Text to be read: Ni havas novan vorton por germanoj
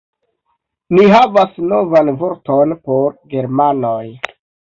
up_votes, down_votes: 2, 0